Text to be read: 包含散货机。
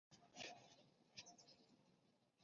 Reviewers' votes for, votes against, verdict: 2, 0, accepted